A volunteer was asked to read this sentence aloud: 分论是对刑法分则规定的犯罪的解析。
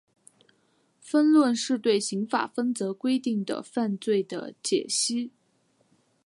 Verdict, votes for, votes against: accepted, 2, 0